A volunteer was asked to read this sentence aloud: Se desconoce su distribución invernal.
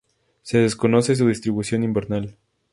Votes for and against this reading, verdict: 0, 2, rejected